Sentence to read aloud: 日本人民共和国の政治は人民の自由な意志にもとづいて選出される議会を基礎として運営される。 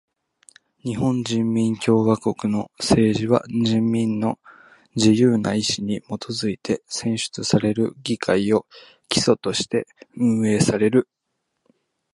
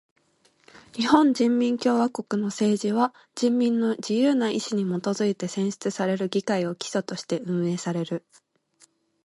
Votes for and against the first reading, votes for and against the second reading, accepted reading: 0, 2, 2, 0, second